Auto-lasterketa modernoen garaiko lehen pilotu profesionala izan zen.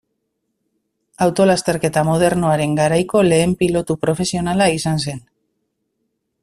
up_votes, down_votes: 1, 2